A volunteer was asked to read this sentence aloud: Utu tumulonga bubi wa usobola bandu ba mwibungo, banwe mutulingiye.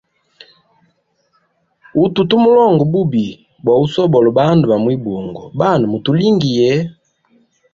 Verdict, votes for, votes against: accepted, 2, 1